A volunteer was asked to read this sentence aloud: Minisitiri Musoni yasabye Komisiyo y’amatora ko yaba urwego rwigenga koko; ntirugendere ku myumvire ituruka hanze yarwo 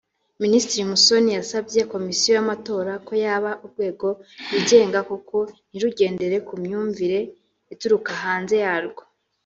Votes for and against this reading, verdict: 2, 0, accepted